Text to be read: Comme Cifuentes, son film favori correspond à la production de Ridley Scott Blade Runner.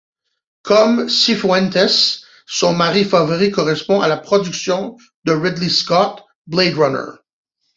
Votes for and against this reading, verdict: 0, 2, rejected